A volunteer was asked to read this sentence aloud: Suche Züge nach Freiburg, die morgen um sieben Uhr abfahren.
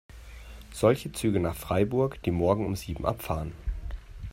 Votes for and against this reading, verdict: 1, 3, rejected